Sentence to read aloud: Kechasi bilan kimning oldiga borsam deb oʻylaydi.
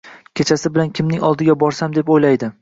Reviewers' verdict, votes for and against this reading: accepted, 2, 0